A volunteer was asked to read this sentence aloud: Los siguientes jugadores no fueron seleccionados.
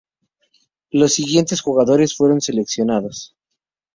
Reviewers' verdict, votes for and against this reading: rejected, 2, 2